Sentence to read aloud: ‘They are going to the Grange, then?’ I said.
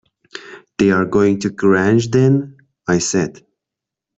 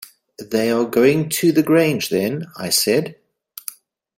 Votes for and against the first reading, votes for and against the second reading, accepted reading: 1, 2, 2, 0, second